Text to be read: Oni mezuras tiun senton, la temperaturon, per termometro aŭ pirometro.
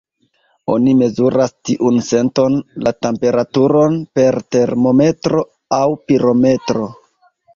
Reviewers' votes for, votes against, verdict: 0, 2, rejected